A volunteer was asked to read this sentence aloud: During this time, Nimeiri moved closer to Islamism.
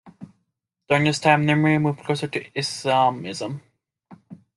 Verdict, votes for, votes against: accepted, 2, 0